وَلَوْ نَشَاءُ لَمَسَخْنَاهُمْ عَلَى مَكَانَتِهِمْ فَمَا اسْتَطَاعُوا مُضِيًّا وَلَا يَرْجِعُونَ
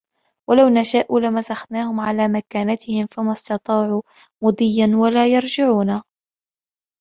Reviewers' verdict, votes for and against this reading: accepted, 2, 0